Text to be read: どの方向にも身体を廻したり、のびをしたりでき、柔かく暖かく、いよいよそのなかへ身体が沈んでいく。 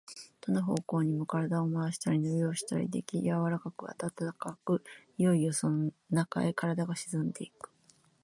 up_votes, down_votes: 0, 2